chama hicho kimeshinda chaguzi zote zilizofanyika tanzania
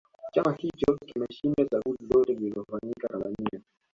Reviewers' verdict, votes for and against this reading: accepted, 2, 0